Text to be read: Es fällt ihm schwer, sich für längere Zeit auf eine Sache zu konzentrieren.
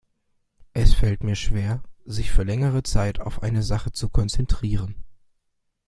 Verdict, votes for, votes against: rejected, 1, 2